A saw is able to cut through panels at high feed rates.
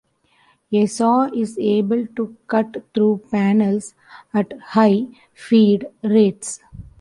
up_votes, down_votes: 2, 1